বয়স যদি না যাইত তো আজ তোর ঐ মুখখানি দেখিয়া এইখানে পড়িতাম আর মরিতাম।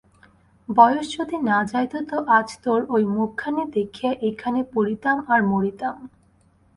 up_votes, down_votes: 4, 0